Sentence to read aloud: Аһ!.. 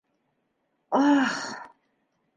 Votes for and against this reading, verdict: 2, 1, accepted